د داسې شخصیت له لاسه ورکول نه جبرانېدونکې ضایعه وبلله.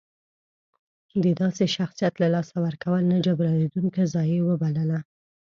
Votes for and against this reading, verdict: 2, 0, accepted